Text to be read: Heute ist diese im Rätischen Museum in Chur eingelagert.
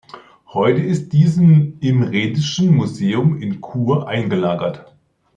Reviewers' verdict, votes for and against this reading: rejected, 1, 2